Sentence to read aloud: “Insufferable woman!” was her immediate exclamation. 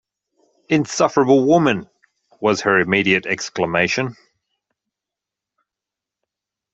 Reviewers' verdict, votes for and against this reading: accepted, 2, 0